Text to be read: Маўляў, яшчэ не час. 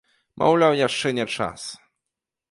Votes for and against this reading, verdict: 2, 0, accepted